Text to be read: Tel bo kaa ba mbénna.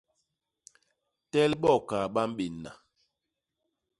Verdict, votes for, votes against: accepted, 2, 0